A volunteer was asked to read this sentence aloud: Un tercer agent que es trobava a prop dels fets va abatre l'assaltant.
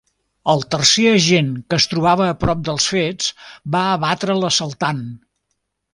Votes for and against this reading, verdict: 0, 2, rejected